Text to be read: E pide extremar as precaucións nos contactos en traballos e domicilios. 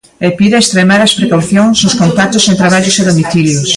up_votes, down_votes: 2, 1